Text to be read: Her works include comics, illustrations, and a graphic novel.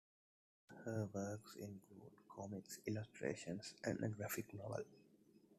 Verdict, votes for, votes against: rejected, 1, 2